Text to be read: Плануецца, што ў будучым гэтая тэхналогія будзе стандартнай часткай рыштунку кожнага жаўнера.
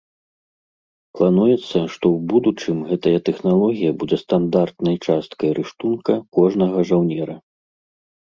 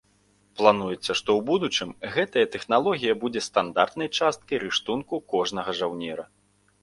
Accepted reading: second